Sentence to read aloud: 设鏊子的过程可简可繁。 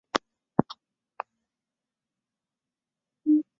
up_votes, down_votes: 0, 2